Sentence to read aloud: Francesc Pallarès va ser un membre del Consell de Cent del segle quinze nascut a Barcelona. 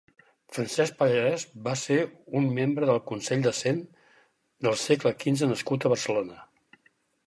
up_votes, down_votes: 6, 0